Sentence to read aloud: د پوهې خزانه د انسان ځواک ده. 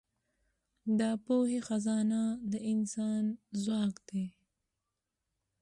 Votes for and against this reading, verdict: 2, 0, accepted